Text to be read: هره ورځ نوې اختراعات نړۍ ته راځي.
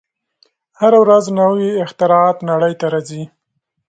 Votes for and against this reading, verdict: 3, 0, accepted